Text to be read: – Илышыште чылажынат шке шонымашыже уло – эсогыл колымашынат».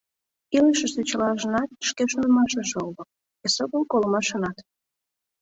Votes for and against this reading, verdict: 2, 0, accepted